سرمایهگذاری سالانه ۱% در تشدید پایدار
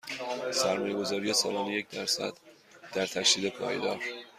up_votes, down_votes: 0, 2